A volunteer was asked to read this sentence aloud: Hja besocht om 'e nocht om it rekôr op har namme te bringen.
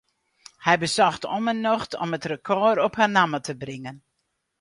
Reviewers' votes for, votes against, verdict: 0, 4, rejected